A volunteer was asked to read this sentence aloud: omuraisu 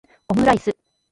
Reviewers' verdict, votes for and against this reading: rejected, 1, 2